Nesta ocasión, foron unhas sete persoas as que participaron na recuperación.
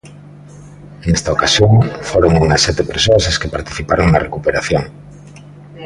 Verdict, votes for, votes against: rejected, 1, 2